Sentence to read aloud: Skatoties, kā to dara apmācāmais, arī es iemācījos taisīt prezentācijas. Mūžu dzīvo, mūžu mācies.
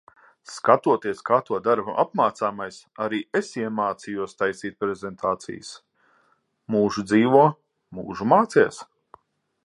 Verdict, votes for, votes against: accepted, 6, 0